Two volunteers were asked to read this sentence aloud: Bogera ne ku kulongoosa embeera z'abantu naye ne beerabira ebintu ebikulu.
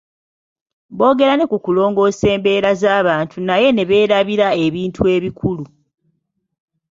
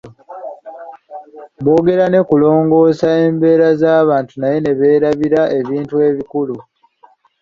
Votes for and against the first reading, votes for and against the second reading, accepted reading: 2, 0, 1, 2, first